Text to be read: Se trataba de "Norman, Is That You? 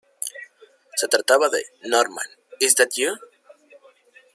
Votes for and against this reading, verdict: 2, 1, accepted